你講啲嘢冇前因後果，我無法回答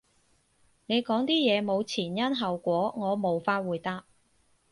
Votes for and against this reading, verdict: 4, 0, accepted